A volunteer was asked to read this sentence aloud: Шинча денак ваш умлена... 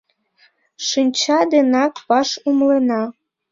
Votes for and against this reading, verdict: 2, 1, accepted